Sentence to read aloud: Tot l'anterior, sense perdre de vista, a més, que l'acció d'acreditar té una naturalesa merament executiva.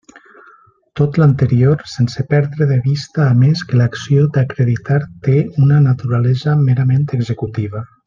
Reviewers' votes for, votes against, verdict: 3, 0, accepted